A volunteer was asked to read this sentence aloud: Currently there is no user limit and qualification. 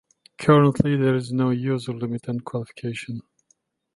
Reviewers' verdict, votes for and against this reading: accepted, 2, 1